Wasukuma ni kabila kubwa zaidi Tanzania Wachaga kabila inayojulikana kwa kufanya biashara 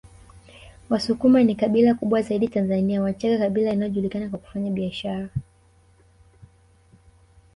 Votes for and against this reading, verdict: 0, 2, rejected